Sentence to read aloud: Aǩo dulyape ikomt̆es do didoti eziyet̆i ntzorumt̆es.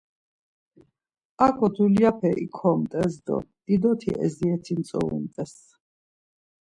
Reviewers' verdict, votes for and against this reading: accepted, 2, 0